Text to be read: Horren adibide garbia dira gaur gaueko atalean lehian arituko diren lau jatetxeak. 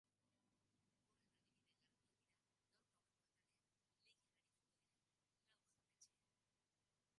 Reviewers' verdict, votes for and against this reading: rejected, 0, 3